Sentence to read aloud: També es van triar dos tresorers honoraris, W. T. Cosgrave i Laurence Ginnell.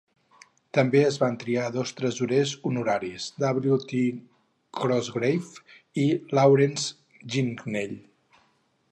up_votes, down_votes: 0, 2